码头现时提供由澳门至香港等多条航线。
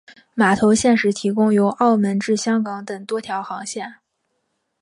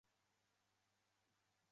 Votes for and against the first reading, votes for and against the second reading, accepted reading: 2, 1, 0, 2, first